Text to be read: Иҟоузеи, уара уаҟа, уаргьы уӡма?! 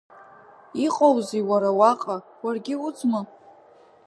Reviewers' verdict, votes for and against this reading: accepted, 2, 0